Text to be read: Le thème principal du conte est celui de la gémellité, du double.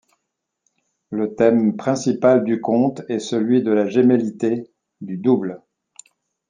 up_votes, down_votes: 2, 0